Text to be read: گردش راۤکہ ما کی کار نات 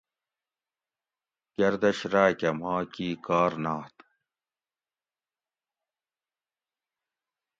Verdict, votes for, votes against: accepted, 2, 0